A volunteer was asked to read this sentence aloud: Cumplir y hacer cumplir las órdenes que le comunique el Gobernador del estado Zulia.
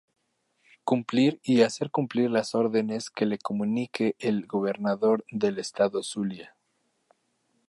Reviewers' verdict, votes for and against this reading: accepted, 2, 0